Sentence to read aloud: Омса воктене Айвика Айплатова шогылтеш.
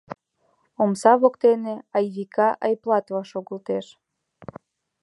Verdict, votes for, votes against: accepted, 3, 0